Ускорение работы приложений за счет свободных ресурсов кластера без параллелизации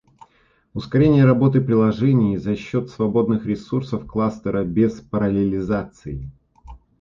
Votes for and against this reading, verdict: 2, 0, accepted